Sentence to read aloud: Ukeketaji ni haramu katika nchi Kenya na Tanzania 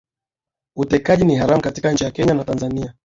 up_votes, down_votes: 4, 4